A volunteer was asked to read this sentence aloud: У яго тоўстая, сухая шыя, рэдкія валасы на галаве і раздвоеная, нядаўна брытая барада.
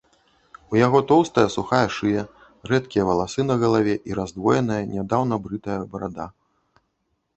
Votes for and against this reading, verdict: 2, 0, accepted